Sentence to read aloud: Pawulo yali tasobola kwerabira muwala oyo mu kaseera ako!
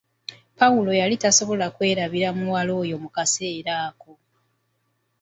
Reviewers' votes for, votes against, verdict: 2, 0, accepted